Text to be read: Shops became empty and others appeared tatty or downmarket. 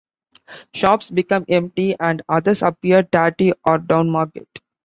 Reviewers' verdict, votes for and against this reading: accepted, 2, 1